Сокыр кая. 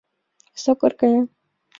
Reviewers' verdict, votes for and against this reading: accepted, 2, 0